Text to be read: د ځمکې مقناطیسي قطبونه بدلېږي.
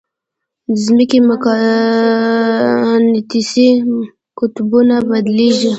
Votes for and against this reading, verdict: 0, 2, rejected